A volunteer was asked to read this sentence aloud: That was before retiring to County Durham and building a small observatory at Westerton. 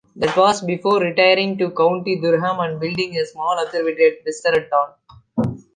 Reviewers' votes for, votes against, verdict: 2, 1, accepted